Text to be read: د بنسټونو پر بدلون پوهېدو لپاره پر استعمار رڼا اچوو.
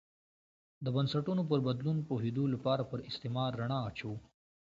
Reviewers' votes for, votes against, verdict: 2, 0, accepted